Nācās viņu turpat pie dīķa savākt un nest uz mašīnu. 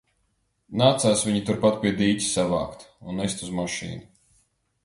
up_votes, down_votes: 2, 0